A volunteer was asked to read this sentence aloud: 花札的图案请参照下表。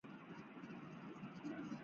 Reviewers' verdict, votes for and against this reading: rejected, 0, 3